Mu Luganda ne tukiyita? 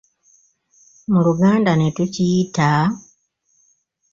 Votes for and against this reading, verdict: 2, 0, accepted